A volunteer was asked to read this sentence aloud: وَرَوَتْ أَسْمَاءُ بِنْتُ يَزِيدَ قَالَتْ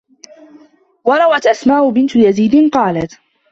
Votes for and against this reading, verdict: 2, 1, accepted